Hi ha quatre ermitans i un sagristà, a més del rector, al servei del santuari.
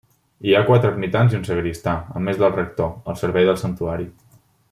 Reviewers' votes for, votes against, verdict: 2, 0, accepted